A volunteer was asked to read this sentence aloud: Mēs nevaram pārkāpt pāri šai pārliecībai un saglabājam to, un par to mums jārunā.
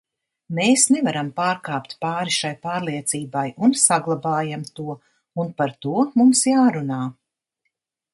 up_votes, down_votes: 2, 0